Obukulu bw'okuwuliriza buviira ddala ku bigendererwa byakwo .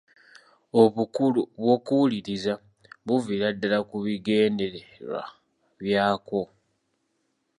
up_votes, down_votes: 2, 0